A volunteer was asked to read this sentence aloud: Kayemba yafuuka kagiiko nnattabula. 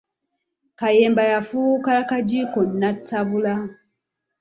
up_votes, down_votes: 2, 0